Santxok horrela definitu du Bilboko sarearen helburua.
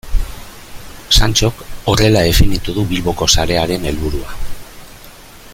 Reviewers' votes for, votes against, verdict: 1, 2, rejected